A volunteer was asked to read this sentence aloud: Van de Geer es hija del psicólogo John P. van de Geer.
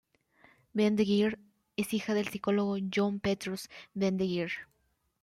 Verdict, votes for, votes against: rejected, 1, 2